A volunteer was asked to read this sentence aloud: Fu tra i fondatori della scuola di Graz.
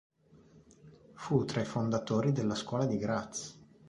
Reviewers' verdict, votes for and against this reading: accepted, 3, 0